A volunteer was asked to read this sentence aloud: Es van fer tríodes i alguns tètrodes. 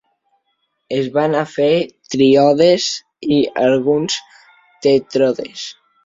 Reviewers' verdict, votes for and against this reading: rejected, 0, 2